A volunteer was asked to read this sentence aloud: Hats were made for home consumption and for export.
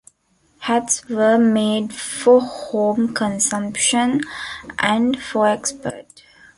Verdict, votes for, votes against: accepted, 2, 0